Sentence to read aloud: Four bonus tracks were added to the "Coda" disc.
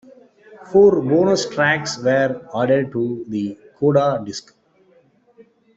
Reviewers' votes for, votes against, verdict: 2, 0, accepted